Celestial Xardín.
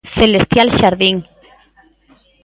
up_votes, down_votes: 2, 0